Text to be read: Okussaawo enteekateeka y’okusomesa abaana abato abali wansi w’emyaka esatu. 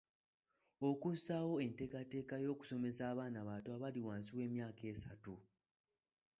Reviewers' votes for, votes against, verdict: 3, 0, accepted